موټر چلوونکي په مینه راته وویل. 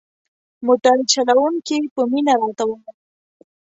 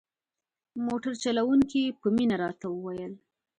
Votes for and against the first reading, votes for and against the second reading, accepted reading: 1, 2, 2, 0, second